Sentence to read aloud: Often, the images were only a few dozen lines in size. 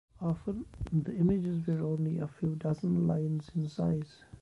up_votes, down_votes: 0, 2